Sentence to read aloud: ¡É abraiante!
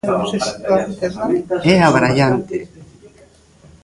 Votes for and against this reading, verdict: 2, 1, accepted